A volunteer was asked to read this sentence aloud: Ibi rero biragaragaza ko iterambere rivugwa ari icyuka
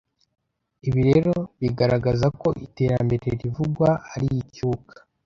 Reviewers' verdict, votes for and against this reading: accepted, 2, 1